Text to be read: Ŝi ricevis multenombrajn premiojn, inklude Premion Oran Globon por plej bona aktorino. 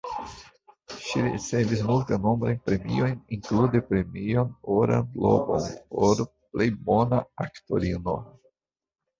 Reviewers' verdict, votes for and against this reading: rejected, 1, 2